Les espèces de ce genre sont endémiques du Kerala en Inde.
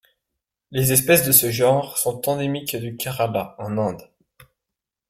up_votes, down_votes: 1, 3